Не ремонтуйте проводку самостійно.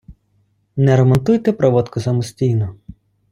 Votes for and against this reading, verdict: 2, 1, accepted